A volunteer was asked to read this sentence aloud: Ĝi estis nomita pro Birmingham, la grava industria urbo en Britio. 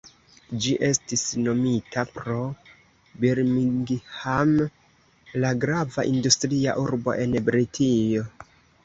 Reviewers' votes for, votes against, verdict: 2, 0, accepted